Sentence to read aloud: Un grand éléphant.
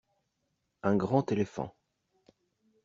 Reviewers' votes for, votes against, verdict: 2, 0, accepted